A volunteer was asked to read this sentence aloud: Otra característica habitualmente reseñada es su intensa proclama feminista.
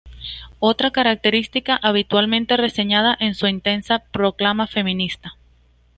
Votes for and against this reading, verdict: 2, 0, accepted